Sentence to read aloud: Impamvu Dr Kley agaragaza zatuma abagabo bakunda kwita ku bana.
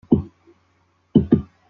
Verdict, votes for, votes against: rejected, 0, 2